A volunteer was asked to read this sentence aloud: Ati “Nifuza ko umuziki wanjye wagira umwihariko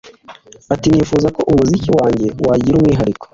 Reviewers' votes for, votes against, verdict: 2, 1, accepted